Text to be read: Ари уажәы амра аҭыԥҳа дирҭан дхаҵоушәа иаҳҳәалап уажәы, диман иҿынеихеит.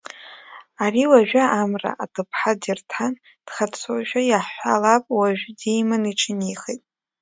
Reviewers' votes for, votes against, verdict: 2, 0, accepted